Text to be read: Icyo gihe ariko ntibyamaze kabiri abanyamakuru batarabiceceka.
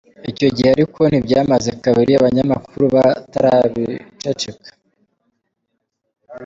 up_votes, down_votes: 2, 0